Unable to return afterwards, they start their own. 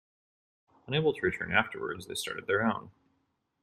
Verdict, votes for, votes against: rejected, 1, 2